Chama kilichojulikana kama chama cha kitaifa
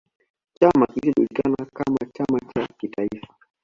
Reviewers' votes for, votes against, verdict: 2, 0, accepted